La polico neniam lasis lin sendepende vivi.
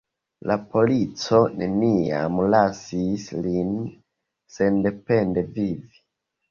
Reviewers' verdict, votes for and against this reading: rejected, 2, 3